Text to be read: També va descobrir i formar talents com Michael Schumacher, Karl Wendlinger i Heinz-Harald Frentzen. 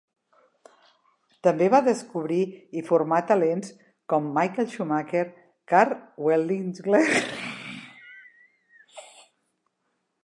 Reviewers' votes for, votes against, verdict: 0, 2, rejected